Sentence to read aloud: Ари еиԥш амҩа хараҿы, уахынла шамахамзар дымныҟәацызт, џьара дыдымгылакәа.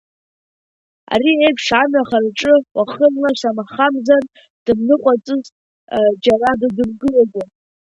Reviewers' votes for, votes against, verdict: 1, 2, rejected